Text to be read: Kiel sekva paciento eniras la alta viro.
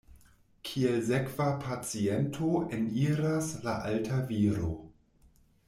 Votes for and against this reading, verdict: 0, 2, rejected